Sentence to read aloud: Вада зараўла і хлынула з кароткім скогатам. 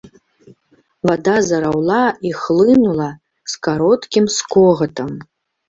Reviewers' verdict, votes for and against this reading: accepted, 2, 0